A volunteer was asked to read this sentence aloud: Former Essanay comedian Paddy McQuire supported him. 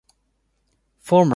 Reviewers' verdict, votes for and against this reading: rejected, 0, 2